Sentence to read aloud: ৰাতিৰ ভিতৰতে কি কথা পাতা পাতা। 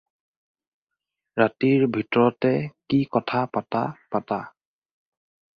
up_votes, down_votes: 4, 0